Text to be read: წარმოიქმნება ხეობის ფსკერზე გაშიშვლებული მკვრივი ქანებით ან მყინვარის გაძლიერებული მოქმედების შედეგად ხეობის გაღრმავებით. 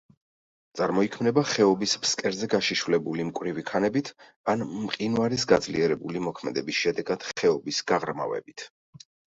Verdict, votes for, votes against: accepted, 2, 0